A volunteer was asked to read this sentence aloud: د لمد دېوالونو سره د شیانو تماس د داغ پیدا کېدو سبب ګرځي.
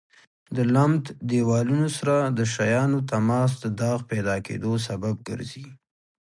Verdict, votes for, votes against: accepted, 2, 0